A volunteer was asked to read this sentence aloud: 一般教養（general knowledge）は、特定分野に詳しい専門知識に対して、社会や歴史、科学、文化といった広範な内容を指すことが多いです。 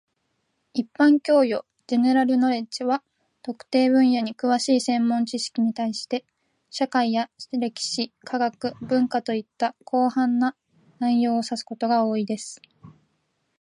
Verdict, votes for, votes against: accepted, 2, 0